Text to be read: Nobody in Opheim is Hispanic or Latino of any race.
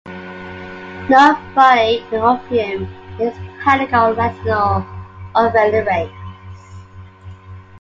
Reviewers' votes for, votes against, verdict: 2, 1, accepted